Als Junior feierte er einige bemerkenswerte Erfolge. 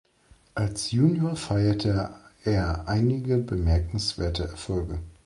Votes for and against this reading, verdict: 0, 2, rejected